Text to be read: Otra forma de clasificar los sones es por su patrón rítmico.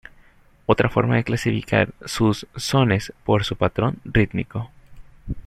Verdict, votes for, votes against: rejected, 0, 2